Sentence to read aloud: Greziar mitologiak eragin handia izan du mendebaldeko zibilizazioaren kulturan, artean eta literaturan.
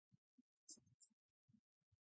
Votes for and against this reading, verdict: 0, 4, rejected